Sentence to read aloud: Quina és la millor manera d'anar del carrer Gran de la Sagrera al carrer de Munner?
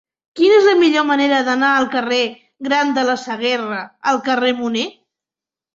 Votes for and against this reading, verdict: 1, 3, rejected